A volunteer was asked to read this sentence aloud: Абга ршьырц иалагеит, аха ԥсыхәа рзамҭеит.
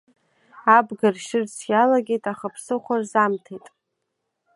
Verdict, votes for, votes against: accepted, 2, 1